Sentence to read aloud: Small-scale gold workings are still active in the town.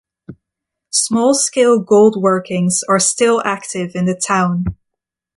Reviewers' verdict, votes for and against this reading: accepted, 2, 0